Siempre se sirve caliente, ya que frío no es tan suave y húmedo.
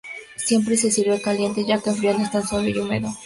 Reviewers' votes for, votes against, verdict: 0, 2, rejected